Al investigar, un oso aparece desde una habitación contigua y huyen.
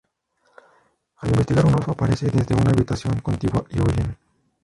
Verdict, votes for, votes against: rejected, 0, 2